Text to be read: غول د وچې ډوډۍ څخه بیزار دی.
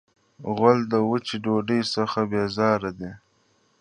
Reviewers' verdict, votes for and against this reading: accepted, 2, 0